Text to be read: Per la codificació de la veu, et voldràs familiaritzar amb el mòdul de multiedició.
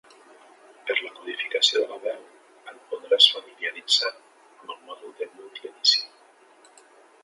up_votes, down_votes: 0, 2